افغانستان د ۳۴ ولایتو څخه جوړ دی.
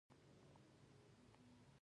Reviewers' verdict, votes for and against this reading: rejected, 0, 2